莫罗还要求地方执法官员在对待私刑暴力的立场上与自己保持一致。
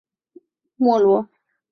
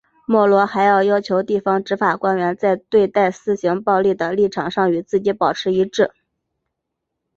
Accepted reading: second